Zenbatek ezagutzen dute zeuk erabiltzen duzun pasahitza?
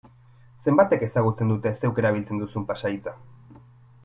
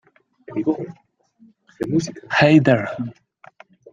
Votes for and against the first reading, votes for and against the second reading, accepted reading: 2, 0, 0, 2, first